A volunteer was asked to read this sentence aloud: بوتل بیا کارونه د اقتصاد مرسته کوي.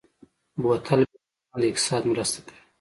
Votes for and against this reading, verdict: 2, 0, accepted